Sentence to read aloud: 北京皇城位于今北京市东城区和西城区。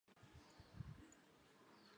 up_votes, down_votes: 0, 2